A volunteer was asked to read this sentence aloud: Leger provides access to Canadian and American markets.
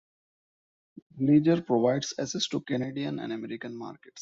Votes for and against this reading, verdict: 0, 2, rejected